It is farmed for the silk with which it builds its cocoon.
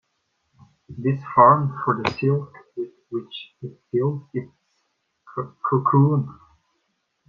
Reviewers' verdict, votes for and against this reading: rejected, 0, 2